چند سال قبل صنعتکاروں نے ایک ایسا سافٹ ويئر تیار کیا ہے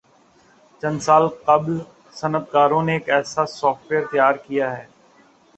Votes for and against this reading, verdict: 2, 0, accepted